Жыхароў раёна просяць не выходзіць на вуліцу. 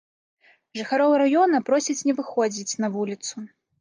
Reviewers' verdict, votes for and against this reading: accepted, 2, 0